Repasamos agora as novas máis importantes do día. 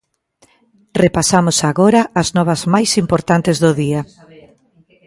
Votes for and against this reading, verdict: 0, 2, rejected